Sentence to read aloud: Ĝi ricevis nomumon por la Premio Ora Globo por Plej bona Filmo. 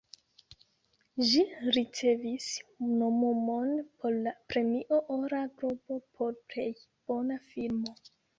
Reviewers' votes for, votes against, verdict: 1, 2, rejected